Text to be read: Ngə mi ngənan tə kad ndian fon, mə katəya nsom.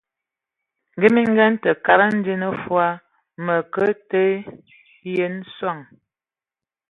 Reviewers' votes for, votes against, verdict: 1, 3, rejected